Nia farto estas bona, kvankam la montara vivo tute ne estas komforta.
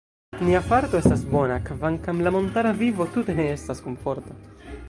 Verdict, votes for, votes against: rejected, 1, 2